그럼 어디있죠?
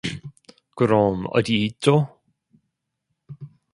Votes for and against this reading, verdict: 2, 1, accepted